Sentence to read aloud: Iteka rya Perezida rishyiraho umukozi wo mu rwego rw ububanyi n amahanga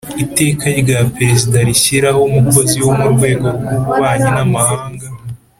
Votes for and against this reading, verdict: 3, 0, accepted